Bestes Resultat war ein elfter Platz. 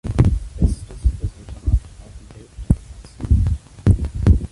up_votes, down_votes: 0, 2